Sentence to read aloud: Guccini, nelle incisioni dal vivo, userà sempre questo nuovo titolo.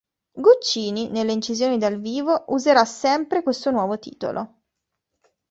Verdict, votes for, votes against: accepted, 2, 0